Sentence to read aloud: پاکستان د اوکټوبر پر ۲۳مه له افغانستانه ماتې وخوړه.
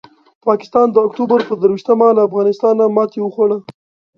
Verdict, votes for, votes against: rejected, 0, 2